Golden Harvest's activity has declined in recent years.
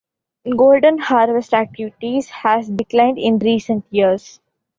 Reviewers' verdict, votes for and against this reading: rejected, 0, 2